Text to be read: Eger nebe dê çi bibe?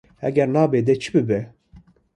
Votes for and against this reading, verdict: 1, 2, rejected